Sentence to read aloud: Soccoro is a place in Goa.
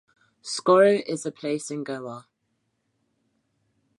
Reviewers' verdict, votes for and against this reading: accepted, 2, 0